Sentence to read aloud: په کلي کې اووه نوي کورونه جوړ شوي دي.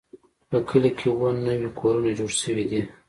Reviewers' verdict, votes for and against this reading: accepted, 2, 0